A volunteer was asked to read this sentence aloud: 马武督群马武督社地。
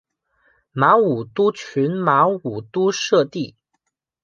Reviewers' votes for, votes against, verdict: 2, 0, accepted